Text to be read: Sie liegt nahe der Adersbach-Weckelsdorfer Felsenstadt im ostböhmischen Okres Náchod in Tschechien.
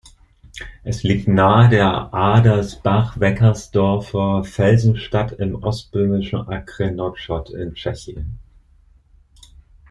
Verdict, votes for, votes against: rejected, 0, 2